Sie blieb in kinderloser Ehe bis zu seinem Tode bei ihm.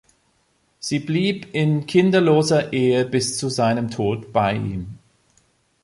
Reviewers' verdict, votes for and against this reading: rejected, 1, 2